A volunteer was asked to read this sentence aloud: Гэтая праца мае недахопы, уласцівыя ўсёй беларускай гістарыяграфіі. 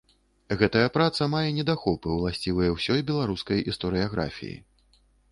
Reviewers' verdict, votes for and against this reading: rejected, 0, 2